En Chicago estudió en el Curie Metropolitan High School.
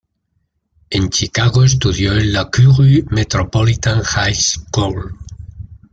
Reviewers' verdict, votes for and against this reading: rejected, 1, 2